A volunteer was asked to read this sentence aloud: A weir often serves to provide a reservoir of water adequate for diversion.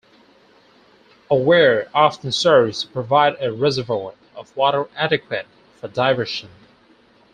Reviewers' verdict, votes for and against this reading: accepted, 4, 2